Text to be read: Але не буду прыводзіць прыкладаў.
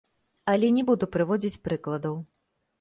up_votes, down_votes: 2, 3